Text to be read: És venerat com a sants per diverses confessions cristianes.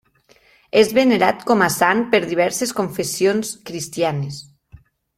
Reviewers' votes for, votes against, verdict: 1, 2, rejected